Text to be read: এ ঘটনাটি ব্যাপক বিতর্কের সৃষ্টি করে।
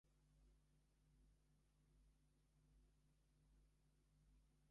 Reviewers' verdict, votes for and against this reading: rejected, 0, 2